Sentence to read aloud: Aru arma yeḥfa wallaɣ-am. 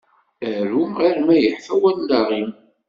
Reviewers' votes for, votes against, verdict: 2, 0, accepted